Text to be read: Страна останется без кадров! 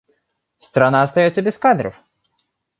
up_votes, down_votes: 0, 2